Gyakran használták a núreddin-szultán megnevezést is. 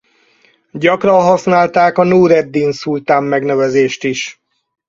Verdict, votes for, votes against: accepted, 4, 0